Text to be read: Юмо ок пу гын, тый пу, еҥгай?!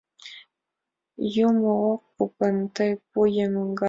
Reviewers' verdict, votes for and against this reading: rejected, 1, 2